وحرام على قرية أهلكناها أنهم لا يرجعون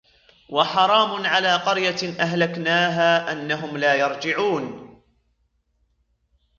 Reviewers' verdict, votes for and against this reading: rejected, 0, 2